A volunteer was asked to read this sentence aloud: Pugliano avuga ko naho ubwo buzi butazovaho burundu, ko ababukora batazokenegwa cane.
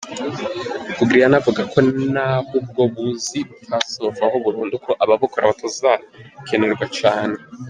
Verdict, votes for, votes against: rejected, 0, 2